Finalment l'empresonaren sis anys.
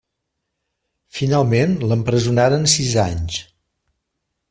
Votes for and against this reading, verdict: 1, 2, rejected